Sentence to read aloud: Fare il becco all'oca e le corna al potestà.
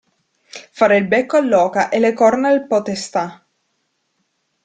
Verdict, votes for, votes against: accepted, 2, 0